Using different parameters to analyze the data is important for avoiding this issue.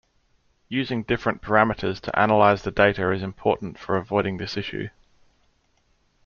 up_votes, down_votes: 2, 0